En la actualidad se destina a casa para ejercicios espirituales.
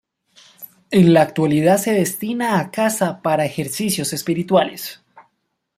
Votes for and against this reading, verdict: 2, 0, accepted